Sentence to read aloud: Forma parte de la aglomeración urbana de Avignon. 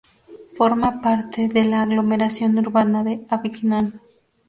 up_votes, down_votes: 2, 0